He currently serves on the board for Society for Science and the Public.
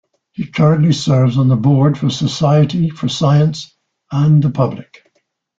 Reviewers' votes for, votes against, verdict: 2, 0, accepted